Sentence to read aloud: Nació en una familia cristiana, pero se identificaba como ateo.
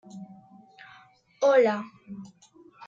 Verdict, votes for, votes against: rejected, 0, 2